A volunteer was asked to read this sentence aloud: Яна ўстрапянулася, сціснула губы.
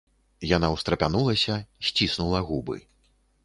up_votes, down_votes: 2, 0